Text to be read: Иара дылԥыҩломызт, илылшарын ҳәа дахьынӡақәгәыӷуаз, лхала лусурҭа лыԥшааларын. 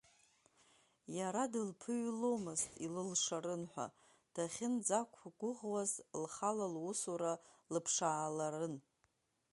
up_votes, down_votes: 1, 2